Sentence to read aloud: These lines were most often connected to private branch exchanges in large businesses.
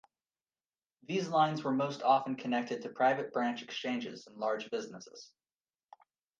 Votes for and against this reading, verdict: 2, 0, accepted